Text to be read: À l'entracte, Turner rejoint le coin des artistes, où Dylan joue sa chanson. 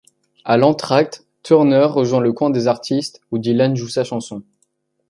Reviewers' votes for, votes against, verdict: 2, 0, accepted